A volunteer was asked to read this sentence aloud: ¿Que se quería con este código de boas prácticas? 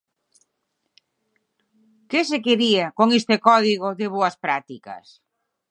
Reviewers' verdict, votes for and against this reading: accepted, 6, 0